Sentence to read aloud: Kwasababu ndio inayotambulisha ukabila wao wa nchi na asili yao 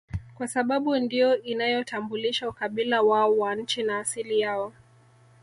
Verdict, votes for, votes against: rejected, 1, 2